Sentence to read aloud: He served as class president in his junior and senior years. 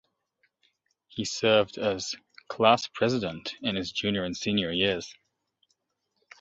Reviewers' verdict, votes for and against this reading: accepted, 2, 1